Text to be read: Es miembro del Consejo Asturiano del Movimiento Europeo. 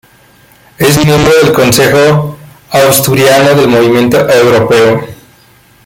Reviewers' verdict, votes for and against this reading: rejected, 1, 2